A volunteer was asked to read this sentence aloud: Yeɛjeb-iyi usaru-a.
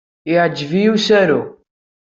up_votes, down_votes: 1, 2